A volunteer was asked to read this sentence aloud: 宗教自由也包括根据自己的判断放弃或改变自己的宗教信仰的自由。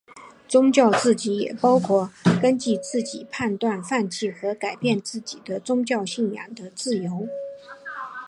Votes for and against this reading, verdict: 1, 2, rejected